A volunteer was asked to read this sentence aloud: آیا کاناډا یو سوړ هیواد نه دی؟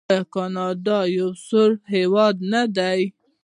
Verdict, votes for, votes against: accepted, 2, 0